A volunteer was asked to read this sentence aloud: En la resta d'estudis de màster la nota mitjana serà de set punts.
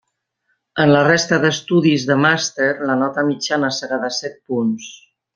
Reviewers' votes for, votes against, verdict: 3, 0, accepted